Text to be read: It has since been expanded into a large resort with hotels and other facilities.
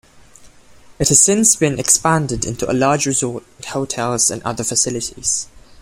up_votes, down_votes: 2, 1